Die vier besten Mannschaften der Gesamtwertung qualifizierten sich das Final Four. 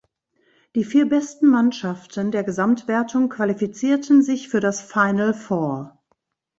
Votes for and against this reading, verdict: 1, 2, rejected